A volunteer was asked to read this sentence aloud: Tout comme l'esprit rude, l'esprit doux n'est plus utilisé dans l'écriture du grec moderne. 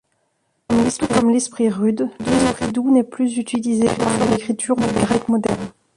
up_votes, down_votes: 1, 3